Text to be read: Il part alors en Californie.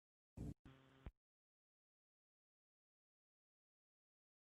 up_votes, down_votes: 0, 2